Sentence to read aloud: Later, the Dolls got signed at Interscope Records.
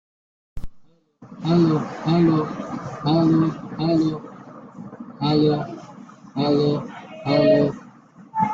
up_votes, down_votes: 0, 2